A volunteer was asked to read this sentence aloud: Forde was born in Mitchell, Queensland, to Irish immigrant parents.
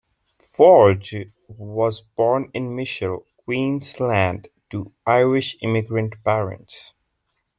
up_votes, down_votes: 0, 2